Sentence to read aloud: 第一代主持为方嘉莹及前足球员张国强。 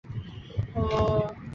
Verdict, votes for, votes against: rejected, 1, 2